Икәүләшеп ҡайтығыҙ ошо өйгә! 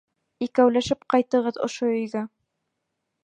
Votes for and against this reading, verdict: 2, 1, accepted